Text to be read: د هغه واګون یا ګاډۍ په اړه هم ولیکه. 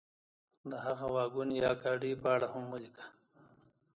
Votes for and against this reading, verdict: 2, 1, accepted